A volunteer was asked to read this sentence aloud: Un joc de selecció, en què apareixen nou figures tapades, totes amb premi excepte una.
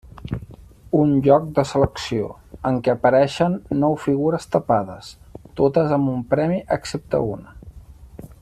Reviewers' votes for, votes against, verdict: 2, 4, rejected